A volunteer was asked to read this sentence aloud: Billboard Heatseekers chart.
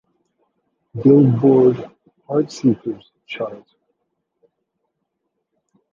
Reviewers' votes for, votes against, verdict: 0, 2, rejected